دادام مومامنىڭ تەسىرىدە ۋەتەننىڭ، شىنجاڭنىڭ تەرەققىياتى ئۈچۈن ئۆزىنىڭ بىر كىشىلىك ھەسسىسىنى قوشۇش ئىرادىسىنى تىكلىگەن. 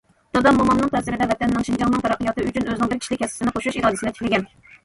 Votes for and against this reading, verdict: 2, 1, accepted